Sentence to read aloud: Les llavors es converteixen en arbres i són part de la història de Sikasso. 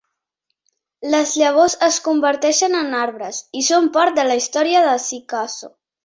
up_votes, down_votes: 2, 0